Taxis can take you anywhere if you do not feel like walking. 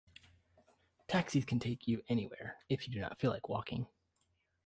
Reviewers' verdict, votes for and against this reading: accepted, 2, 1